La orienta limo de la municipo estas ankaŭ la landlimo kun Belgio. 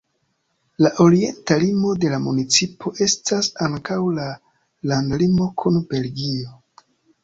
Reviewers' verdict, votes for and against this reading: accepted, 2, 0